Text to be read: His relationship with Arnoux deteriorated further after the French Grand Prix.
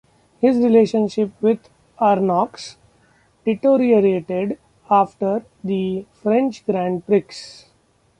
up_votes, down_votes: 1, 2